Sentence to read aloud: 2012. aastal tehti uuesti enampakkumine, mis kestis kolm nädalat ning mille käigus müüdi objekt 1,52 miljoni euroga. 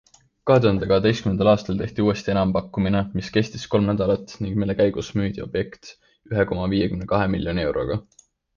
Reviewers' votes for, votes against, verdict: 0, 2, rejected